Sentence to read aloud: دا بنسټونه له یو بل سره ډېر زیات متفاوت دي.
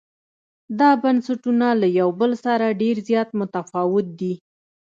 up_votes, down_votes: 2, 0